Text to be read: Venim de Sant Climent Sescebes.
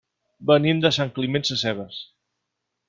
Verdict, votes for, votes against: accepted, 4, 0